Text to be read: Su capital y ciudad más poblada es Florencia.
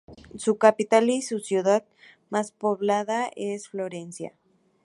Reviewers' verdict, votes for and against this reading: accepted, 4, 0